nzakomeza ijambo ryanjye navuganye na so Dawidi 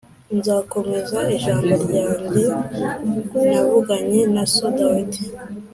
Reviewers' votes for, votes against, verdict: 4, 0, accepted